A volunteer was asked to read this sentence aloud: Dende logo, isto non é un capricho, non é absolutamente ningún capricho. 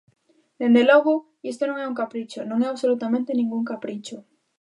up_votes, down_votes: 2, 0